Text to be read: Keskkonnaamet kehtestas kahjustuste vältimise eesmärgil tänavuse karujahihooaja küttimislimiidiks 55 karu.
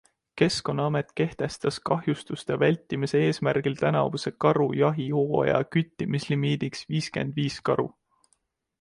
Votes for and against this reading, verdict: 0, 2, rejected